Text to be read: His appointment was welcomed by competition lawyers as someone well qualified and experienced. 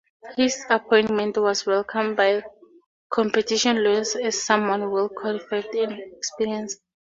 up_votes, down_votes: 2, 0